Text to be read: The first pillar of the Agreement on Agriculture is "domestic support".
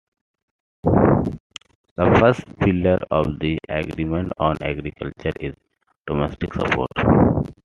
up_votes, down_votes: 2, 0